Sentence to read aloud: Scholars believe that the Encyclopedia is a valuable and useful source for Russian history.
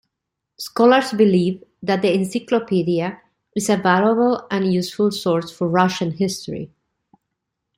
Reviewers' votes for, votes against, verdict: 2, 0, accepted